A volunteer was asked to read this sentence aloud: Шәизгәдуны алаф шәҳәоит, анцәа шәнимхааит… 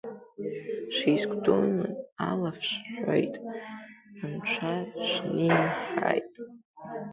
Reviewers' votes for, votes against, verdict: 0, 2, rejected